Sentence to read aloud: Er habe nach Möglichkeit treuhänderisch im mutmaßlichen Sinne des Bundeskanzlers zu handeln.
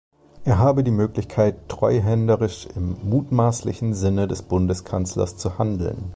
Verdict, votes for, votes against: rejected, 0, 2